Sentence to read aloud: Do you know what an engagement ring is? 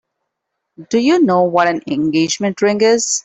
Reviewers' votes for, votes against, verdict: 3, 1, accepted